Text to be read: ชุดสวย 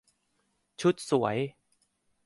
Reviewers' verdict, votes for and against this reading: accepted, 2, 0